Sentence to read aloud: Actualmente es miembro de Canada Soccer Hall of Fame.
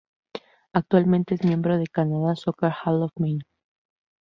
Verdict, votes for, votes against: rejected, 0, 2